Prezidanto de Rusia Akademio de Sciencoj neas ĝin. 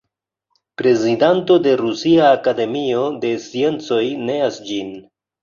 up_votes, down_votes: 2, 0